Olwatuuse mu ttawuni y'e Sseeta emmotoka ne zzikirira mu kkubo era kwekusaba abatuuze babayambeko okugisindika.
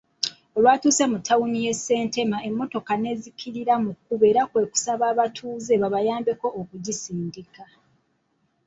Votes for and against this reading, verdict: 1, 3, rejected